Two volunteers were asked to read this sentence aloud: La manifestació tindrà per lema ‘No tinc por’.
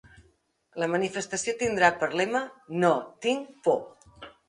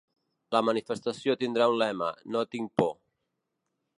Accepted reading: first